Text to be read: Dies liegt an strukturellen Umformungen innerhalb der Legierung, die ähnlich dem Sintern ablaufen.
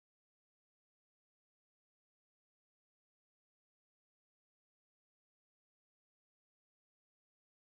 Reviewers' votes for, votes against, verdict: 0, 2, rejected